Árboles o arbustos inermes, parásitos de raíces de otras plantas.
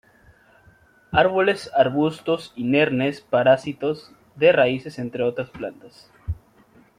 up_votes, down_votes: 1, 2